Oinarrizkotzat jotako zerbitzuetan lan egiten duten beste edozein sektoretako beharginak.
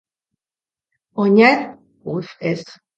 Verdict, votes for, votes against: rejected, 0, 2